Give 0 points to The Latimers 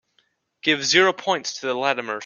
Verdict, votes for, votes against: rejected, 0, 2